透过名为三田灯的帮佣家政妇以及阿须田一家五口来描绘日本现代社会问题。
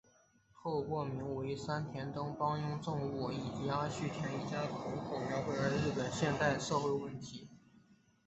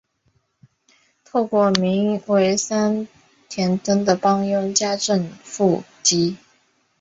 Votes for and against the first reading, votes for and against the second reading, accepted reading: 3, 2, 1, 2, first